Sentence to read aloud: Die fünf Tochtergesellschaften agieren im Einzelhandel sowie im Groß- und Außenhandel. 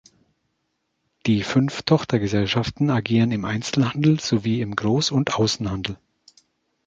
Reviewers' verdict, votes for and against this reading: accepted, 2, 0